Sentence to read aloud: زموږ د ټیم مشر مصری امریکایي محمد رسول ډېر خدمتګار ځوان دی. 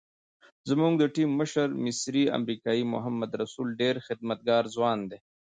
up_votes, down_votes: 2, 0